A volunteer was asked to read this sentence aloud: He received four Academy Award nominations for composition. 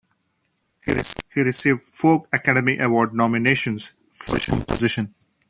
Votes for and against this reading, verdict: 1, 2, rejected